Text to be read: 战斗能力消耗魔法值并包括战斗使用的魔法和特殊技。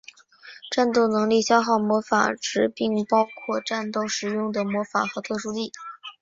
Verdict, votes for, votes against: rejected, 1, 3